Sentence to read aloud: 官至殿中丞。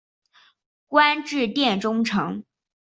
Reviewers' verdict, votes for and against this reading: accepted, 3, 0